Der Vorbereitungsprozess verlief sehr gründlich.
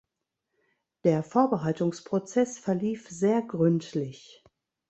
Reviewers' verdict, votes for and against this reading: rejected, 1, 2